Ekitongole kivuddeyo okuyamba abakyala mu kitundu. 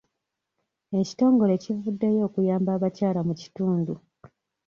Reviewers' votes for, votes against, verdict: 2, 0, accepted